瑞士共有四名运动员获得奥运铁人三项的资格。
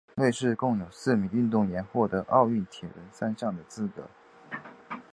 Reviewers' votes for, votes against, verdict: 4, 1, accepted